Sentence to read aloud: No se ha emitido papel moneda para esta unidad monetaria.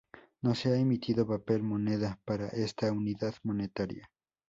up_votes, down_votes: 4, 0